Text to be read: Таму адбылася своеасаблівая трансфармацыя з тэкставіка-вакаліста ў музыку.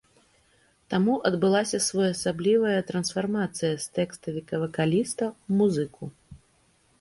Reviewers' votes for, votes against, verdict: 2, 0, accepted